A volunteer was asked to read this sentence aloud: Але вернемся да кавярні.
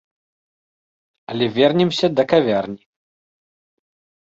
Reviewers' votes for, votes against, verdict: 2, 0, accepted